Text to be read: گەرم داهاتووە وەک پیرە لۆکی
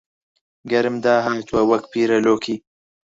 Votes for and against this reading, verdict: 0, 4, rejected